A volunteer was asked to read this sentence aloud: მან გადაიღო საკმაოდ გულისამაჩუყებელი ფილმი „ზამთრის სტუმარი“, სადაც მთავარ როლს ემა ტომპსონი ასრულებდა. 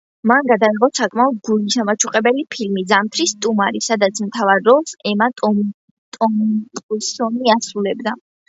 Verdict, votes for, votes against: accepted, 2, 1